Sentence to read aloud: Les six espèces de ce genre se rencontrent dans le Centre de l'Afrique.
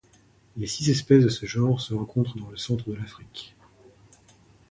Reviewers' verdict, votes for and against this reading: accepted, 2, 0